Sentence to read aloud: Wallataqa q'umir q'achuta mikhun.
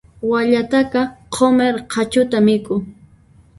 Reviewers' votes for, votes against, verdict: 0, 2, rejected